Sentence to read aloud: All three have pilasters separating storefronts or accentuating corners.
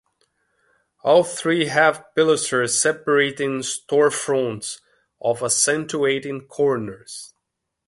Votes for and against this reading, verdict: 0, 2, rejected